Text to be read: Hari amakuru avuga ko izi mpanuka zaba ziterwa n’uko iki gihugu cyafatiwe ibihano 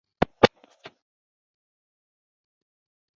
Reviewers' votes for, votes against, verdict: 0, 2, rejected